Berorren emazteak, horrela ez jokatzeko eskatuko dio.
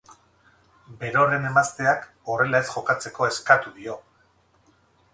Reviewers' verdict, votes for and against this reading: accepted, 4, 2